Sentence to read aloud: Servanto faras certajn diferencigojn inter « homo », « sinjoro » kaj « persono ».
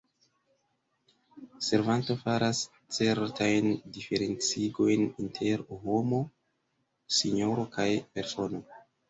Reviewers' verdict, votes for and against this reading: accepted, 2, 1